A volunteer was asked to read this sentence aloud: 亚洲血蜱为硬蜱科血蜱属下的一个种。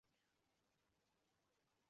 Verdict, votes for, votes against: rejected, 2, 3